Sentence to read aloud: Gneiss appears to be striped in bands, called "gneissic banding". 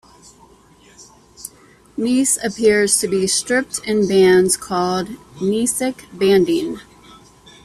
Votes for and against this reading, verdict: 0, 2, rejected